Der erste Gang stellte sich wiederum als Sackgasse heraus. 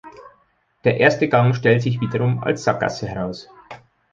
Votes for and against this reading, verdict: 2, 3, rejected